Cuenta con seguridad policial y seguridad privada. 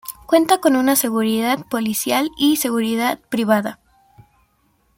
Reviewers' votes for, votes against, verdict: 2, 1, accepted